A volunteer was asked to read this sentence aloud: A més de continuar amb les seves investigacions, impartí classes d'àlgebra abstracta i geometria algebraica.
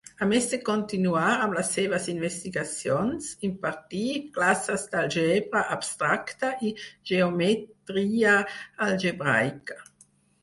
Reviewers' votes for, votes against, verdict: 0, 4, rejected